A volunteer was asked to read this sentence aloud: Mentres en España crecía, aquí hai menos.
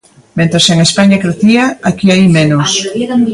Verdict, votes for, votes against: rejected, 1, 2